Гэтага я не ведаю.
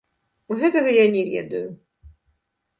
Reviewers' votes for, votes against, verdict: 2, 1, accepted